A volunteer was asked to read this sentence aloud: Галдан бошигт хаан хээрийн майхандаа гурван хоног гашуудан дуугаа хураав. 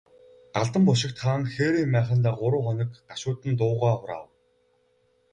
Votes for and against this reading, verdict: 0, 2, rejected